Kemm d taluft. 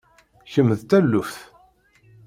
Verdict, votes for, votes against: accepted, 2, 0